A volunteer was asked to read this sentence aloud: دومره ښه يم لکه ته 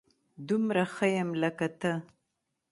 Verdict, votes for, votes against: accepted, 2, 1